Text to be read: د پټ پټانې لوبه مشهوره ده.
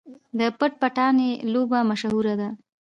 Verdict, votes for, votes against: accepted, 2, 0